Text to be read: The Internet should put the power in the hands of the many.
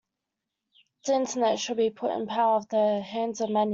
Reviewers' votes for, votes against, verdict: 0, 2, rejected